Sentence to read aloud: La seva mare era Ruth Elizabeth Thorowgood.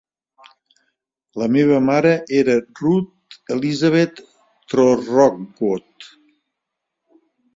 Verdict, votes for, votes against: rejected, 1, 2